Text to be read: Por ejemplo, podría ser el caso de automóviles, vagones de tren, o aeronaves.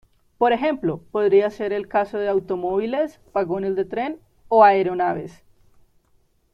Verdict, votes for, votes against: accepted, 2, 0